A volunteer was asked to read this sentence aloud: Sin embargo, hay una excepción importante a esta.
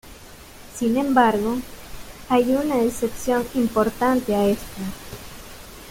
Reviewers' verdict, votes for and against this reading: accepted, 2, 1